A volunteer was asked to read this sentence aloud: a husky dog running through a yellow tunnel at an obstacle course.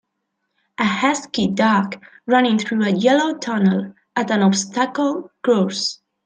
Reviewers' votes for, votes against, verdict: 3, 0, accepted